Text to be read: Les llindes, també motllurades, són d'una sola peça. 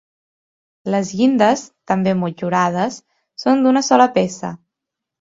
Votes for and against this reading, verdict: 2, 0, accepted